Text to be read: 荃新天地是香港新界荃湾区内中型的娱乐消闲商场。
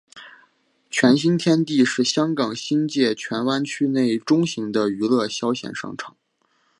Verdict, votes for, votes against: accepted, 4, 0